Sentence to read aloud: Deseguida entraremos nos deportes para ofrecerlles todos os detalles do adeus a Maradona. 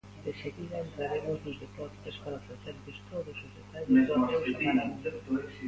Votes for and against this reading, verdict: 0, 2, rejected